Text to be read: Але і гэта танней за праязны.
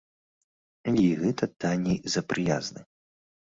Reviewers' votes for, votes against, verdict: 0, 2, rejected